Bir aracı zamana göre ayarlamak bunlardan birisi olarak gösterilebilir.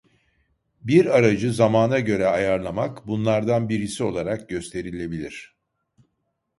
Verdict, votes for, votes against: accepted, 2, 0